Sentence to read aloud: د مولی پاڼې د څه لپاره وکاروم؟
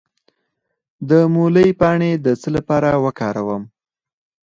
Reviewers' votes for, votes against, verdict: 4, 2, accepted